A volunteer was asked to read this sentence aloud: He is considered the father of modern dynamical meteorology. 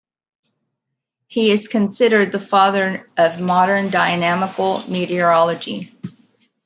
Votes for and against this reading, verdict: 2, 0, accepted